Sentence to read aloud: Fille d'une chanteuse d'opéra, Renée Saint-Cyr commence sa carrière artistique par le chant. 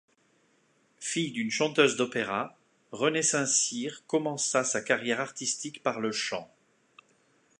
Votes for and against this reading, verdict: 0, 2, rejected